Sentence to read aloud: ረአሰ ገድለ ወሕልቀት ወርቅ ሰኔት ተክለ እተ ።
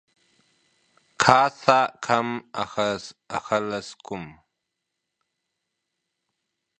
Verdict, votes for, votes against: rejected, 0, 2